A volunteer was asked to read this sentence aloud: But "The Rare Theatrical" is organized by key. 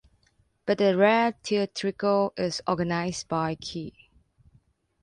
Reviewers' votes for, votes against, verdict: 2, 0, accepted